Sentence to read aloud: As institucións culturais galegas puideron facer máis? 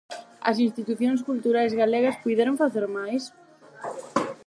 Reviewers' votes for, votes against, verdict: 8, 0, accepted